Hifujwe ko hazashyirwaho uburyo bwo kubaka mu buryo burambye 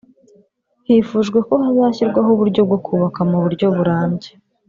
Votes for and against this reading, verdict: 1, 2, rejected